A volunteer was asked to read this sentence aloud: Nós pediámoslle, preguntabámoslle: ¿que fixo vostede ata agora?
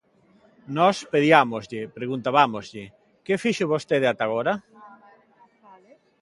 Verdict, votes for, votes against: accepted, 2, 0